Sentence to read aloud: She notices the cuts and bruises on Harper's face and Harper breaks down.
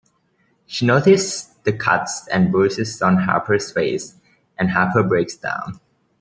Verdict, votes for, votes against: rejected, 1, 2